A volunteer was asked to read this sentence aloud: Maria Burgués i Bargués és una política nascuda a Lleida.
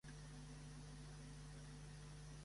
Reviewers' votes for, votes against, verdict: 2, 3, rejected